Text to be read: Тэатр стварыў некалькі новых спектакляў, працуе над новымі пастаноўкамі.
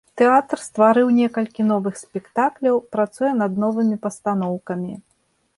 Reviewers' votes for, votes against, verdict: 2, 0, accepted